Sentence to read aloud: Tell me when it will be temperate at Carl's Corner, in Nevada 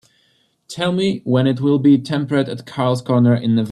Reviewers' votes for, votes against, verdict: 0, 2, rejected